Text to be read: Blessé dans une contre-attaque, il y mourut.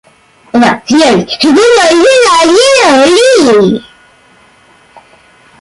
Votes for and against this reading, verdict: 0, 2, rejected